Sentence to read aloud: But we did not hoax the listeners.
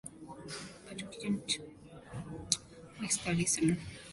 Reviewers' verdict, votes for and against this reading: rejected, 1, 2